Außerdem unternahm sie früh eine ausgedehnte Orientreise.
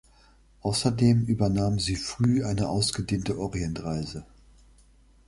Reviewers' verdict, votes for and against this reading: rejected, 1, 2